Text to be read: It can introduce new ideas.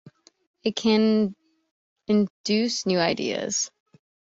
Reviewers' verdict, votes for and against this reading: rejected, 2, 3